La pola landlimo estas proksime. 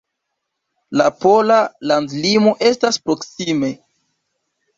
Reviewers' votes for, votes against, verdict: 1, 2, rejected